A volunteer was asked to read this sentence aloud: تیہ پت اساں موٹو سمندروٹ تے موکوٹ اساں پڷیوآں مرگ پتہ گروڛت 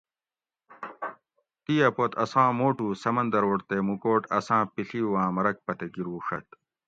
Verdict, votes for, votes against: accepted, 2, 0